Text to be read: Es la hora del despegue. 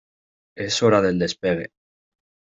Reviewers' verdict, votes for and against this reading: rejected, 1, 2